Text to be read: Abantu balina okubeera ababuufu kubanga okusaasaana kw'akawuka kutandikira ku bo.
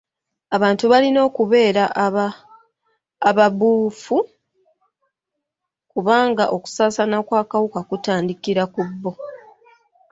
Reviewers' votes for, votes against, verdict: 1, 2, rejected